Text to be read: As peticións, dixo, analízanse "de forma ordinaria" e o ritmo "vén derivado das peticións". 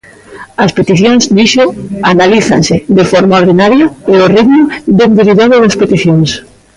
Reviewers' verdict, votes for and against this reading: rejected, 0, 2